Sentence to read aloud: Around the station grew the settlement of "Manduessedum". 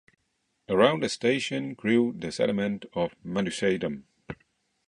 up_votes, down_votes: 2, 0